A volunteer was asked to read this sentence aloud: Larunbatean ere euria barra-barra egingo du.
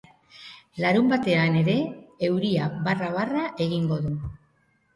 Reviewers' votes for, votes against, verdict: 3, 0, accepted